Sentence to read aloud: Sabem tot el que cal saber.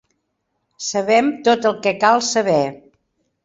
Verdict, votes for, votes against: accepted, 4, 0